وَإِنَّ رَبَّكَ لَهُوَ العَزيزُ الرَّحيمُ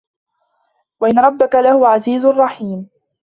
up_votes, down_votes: 1, 2